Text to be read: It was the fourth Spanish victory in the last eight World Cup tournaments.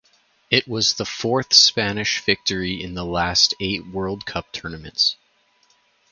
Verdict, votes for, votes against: accepted, 4, 0